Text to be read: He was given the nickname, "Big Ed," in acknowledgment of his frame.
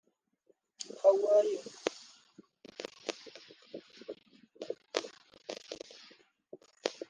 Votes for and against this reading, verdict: 0, 2, rejected